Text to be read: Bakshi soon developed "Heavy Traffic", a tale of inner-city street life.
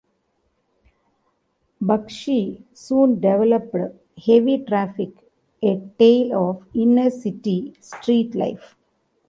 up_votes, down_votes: 2, 0